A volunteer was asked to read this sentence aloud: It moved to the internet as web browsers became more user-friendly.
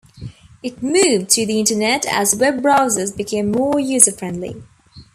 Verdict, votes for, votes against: accepted, 2, 0